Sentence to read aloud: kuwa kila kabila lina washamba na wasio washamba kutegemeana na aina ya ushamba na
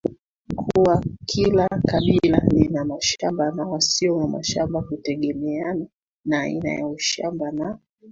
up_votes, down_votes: 1, 2